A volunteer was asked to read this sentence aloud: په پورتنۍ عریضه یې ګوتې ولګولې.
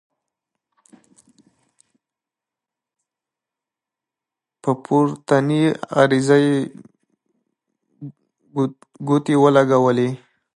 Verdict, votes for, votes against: rejected, 1, 2